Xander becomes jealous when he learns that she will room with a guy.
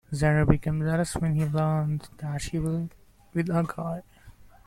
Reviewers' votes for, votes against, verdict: 0, 2, rejected